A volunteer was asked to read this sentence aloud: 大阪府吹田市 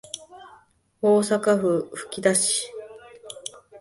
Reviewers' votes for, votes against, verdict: 0, 2, rejected